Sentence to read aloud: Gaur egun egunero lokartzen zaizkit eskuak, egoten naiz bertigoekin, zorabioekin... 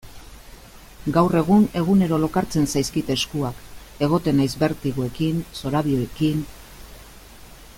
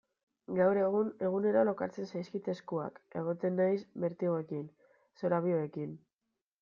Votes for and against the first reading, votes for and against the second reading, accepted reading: 2, 0, 0, 2, first